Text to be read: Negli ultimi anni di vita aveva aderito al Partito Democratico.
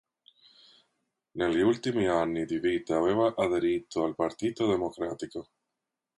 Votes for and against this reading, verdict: 2, 0, accepted